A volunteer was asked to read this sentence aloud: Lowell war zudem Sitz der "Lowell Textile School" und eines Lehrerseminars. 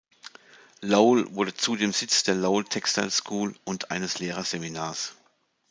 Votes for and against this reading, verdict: 1, 2, rejected